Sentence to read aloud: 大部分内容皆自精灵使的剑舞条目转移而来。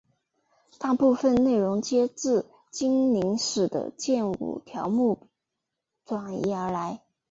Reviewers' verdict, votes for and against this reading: accepted, 3, 0